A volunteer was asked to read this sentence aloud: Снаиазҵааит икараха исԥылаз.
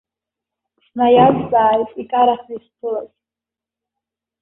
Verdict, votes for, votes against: rejected, 0, 2